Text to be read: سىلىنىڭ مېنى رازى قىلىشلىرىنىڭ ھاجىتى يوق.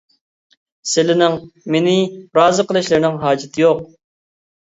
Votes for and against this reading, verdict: 2, 0, accepted